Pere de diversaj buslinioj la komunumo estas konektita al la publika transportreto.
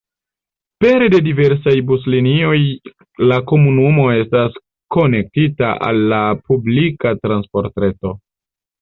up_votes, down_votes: 2, 0